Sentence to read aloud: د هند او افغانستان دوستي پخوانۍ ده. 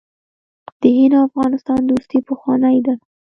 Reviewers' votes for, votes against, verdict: 1, 3, rejected